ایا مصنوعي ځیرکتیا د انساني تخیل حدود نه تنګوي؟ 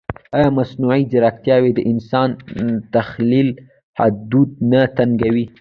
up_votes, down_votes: 2, 0